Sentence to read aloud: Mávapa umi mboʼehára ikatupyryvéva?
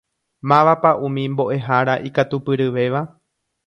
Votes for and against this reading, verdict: 1, 2, rejected